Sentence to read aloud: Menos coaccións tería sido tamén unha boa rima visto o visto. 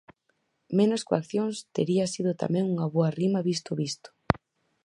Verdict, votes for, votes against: accepted, 4, 0